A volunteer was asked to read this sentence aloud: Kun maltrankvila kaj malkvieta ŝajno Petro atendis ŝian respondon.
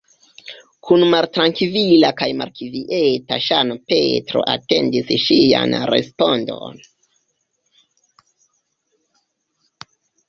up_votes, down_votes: 0, 2